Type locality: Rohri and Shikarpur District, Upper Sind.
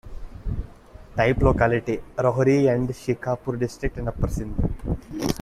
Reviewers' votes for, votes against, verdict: 1, 2, rejected